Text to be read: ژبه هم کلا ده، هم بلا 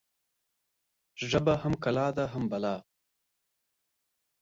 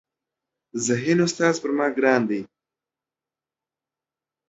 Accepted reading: first